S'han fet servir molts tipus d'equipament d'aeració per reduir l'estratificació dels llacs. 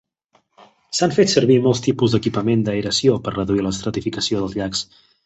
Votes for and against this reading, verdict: 3, 0, accepted